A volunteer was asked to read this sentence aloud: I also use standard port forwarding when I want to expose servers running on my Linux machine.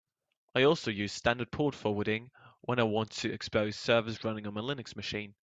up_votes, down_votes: 2, 0